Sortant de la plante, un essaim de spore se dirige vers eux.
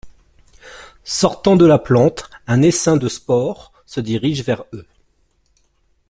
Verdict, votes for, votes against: accepted, 2, 0